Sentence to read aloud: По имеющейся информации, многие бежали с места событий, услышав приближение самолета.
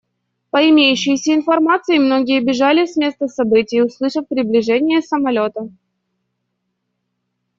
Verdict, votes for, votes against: accepted, 2, 0